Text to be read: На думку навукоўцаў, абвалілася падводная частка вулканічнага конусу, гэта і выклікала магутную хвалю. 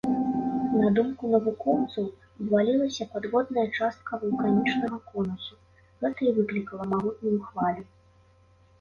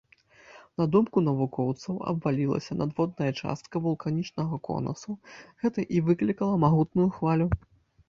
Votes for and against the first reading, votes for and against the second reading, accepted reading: 2, 0, 1, 2, first